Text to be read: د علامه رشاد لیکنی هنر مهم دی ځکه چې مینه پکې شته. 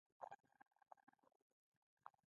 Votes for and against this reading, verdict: 0, 2, rejected